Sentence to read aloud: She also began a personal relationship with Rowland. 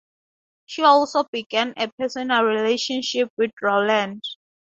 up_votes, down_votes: 2, 0